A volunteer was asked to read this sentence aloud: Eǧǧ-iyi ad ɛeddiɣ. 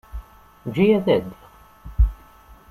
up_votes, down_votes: 1, 2